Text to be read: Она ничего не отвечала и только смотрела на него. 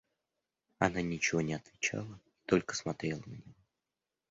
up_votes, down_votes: 0, 2